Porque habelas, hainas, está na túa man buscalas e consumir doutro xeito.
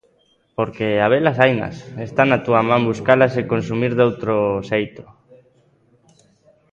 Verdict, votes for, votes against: accepted, 2, 0